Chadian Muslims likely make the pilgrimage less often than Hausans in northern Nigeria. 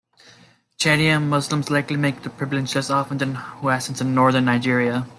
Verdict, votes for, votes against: accepted, 2, 1